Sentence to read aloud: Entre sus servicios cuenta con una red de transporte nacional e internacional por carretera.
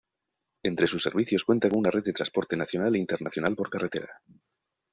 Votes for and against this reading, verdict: 1, 2, rejected